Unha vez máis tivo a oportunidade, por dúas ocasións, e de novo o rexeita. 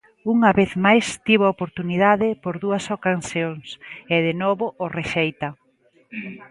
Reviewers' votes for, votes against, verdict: 0, 2, rejected